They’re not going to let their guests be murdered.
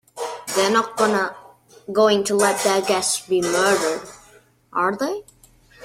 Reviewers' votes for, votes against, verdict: 0, 2, rejected